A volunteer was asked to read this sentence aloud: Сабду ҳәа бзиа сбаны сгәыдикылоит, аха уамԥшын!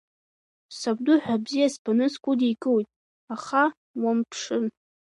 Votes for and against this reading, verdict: 2, 1, accepted